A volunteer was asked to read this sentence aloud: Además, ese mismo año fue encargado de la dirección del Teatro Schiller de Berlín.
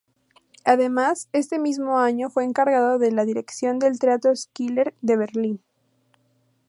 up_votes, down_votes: 2, 2